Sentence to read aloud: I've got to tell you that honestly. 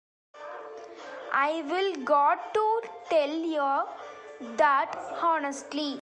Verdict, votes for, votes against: rejected, 0, 2